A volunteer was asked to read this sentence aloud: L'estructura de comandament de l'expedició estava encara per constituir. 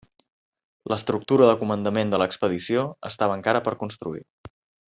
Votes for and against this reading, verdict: 0, 2, rejected